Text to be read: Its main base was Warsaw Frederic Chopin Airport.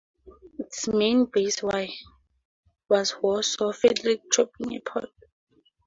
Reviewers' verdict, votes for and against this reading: rejected, 0, 4